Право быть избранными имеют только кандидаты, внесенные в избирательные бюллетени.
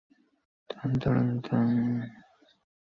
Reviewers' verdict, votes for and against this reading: rejected, 0, 2